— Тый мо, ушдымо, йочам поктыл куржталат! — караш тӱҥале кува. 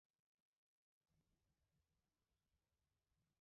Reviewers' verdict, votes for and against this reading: rejected, 0, 2